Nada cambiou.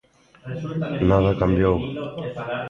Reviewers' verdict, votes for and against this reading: rejected, 1, 2